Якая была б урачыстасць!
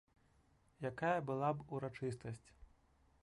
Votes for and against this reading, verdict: 1, 2, rejected